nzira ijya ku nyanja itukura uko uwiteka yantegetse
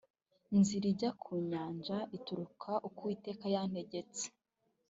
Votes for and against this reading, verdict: 1, 2, rejected